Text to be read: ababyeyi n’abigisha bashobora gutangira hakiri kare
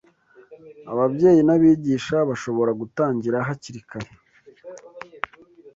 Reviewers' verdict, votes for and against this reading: accepted, 2, 0